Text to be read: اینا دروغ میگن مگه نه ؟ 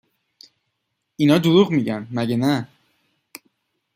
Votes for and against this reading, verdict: 2, 0, accepted